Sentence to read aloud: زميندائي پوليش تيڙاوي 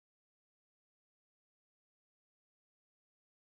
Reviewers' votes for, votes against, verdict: 1, 2, rejected